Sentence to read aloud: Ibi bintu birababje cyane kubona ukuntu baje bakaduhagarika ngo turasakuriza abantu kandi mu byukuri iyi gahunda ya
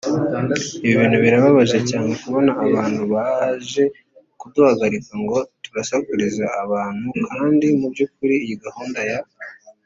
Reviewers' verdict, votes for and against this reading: rejected, 0, 2